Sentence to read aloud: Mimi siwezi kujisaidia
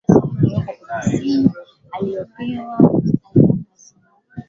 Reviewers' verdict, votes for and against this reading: rejected, 1, 6